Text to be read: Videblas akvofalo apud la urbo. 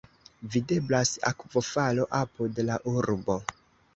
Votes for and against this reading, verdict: 1, 2, rejected